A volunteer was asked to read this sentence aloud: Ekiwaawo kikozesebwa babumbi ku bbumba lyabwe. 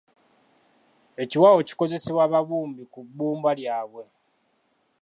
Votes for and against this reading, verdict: 2, 0, accepted